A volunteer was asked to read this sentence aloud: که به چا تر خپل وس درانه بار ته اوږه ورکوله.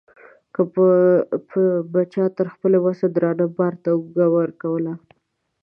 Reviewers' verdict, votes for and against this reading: accepted, 2, 0